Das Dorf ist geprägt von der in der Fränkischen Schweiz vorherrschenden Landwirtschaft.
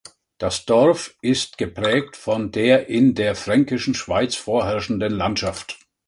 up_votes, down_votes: 0, 3